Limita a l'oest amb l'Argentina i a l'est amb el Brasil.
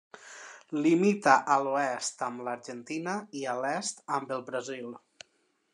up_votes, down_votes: 1, 2